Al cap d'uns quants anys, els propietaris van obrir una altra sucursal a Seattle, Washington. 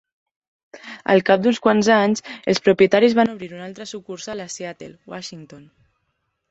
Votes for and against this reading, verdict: 2, 0, accepted